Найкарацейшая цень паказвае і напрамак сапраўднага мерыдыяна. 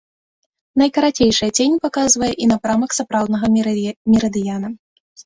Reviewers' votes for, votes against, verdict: 0, 2, rejected